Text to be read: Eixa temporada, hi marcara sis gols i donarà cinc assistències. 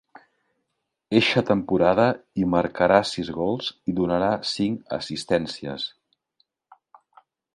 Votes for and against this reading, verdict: 4, 0, accepted